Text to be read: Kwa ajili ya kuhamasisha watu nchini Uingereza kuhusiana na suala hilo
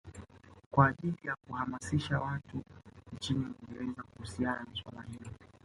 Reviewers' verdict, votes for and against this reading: accepted, 2, 1